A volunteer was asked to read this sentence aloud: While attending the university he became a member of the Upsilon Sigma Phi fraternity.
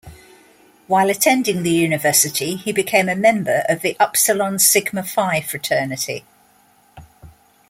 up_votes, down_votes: 2, 0